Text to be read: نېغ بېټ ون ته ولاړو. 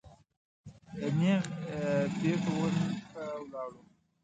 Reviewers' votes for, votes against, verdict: 0, 2, rejected